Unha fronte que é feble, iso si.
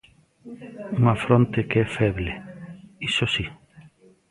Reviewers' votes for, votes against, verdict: 2, 0, accepted